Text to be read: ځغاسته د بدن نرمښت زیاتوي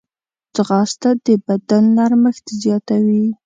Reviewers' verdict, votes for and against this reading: accepted, 2, 0